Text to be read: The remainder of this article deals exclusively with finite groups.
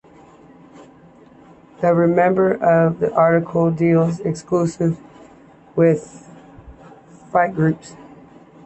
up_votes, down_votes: 0, 2